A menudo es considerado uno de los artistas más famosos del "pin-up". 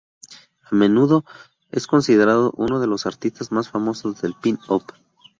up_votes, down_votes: 0, 2